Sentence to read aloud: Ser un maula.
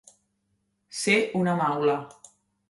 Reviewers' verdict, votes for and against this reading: rejected, 0, 2